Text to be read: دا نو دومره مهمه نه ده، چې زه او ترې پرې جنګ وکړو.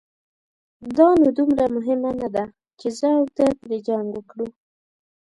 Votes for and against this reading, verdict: 2, 0, accepted